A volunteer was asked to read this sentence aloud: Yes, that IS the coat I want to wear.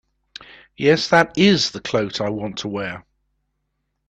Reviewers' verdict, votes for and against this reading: rejected, 0, 2